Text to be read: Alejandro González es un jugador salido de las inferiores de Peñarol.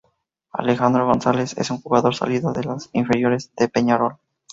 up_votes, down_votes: 4, 0